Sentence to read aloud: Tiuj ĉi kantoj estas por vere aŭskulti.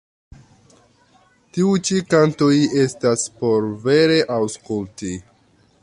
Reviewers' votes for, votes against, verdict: 0, 2, rejected